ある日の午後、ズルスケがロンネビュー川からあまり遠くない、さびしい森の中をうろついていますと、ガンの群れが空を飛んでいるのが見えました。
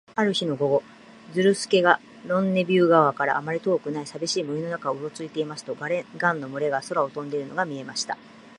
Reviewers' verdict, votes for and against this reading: accepted, 2, 1